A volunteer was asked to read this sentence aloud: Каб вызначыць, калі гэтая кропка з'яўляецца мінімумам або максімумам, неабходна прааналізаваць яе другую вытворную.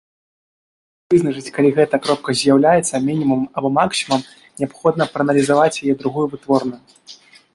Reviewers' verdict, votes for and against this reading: rejected, 0, 2